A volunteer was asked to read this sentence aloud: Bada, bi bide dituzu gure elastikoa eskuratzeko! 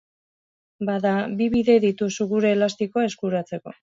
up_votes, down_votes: 3, 0